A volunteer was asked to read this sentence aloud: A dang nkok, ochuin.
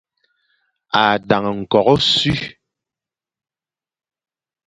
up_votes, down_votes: 0, 2